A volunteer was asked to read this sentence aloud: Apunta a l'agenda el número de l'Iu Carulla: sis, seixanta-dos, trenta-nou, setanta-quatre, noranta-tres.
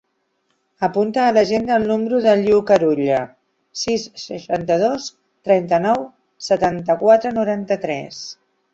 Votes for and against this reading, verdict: 0, 2, rejected